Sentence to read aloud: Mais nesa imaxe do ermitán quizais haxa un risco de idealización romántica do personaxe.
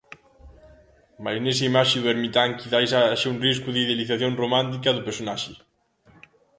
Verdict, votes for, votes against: rejected, 0, 2